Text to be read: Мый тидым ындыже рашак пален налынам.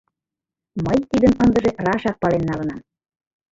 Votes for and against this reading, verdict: 3, 0, accepted